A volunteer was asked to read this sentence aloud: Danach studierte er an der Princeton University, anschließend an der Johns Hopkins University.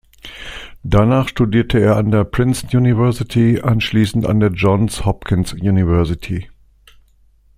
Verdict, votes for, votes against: rejected, 0, 2